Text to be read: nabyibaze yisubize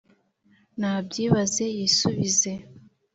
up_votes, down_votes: 4, 0